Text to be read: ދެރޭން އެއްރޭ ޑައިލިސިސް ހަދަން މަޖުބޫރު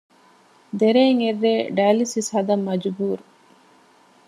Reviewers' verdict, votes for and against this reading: accepted, 2, 0